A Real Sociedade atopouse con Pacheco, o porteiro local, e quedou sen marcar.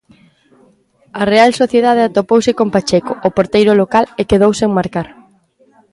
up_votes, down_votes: 1, 2